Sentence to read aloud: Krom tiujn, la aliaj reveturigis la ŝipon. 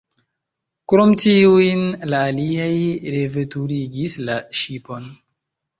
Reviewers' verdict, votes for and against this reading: accepted, 2, 1